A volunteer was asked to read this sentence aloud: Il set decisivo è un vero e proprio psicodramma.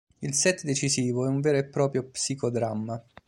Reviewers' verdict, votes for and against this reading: accepted, 2, 0